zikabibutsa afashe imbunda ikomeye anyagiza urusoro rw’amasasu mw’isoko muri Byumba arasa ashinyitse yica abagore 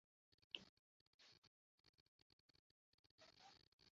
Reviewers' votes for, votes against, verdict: 0, 2, rejected